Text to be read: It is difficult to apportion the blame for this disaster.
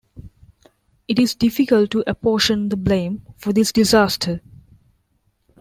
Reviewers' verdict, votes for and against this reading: accepted, 2, 0